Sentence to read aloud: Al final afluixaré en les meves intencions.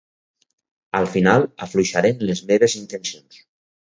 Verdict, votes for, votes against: rejected, 2, 2